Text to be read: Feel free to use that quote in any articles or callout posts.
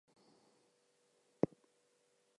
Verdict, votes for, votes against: rejected, 0, 2